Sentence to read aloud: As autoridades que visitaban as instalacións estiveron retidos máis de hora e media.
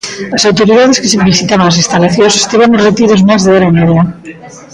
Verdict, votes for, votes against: rejected, 0, 2